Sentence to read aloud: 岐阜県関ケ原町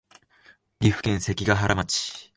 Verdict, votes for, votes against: accepted, 2, 0